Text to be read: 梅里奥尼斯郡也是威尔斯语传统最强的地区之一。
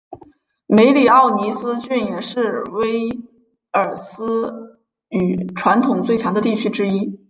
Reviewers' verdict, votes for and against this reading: accepted, 3, 0